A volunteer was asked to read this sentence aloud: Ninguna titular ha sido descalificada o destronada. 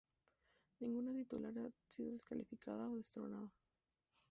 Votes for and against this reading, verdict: 0, 2, rejected